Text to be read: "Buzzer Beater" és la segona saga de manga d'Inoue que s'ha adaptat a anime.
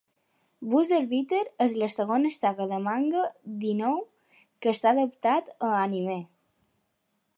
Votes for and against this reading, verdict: 1, 2, rejected